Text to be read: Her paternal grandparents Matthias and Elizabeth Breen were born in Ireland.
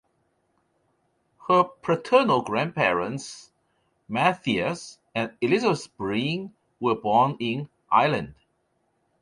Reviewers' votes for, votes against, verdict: 2, 0, accepted